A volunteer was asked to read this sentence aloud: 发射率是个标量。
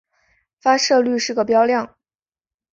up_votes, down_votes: 5, 0